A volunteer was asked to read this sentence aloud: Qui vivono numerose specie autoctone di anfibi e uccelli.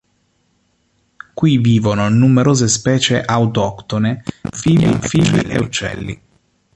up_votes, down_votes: 0, 2